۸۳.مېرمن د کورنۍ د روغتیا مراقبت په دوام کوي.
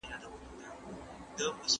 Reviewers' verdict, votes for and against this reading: rejected, 0, 2